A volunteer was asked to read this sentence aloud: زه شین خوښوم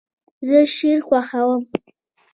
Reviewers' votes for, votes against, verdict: 2, 0, accepted